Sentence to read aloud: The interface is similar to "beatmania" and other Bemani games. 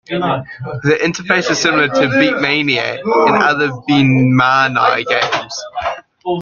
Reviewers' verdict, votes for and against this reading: accepted, 2, 1